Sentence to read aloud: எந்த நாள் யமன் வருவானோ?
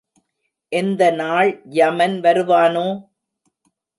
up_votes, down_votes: 2, 0